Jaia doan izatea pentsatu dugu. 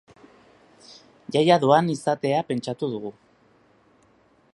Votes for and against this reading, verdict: 2, 0, accepted